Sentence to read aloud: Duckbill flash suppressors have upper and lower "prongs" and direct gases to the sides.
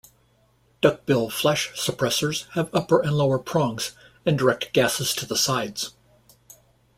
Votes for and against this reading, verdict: 2, 0, accepted